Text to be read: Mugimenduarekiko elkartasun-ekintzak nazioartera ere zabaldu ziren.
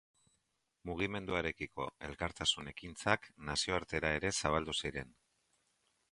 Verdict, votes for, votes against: accepted, 2, 0